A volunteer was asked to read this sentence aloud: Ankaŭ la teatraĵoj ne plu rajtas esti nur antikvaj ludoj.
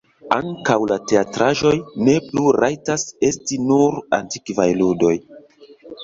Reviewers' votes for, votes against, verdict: 0, 2, rejected